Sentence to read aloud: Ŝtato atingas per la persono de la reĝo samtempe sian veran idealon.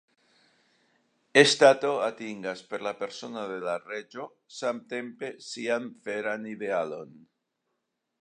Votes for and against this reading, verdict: 2, 1, accepted